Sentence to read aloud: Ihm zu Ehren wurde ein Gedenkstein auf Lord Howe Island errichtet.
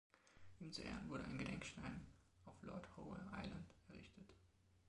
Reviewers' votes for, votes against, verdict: 3, 4, rejected